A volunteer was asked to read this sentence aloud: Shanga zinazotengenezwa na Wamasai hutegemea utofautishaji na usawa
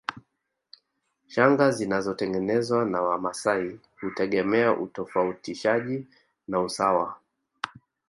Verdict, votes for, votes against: rejected, 1, 2